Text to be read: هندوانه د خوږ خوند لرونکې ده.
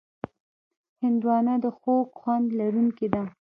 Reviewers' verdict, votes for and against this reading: rejected, 0, 2